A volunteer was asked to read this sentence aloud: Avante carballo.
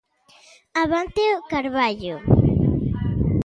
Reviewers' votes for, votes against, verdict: 0, 2, rejected